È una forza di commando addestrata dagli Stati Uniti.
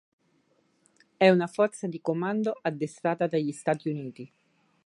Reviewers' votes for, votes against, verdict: 4, 0, accepted